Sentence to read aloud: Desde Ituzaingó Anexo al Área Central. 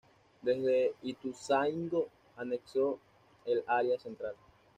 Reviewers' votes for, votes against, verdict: 1, 2, rejected